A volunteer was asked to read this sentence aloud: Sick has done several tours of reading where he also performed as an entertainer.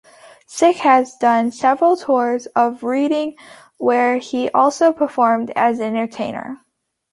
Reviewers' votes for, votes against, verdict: 1, 2, rejected